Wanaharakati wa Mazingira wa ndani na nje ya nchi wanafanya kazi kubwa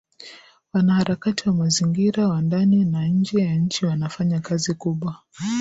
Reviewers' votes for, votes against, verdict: 2, 0, accepted